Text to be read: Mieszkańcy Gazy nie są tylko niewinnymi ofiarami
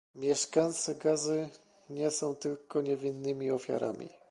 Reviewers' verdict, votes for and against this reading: rejected, 1, 2